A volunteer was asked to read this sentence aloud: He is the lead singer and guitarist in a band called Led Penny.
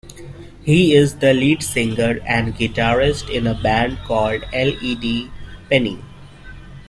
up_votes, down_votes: 0, 2